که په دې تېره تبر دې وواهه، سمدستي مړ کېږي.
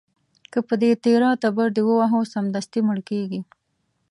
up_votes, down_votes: 2, 0